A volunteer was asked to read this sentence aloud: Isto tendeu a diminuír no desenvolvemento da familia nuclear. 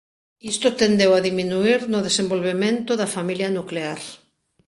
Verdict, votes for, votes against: accepted, 2, 0